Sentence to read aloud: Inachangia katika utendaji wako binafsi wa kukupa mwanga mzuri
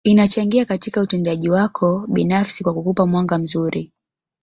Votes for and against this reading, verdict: 1, 2, rejected